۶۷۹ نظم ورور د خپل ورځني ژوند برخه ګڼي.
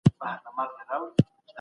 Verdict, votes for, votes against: rejected, 0, 2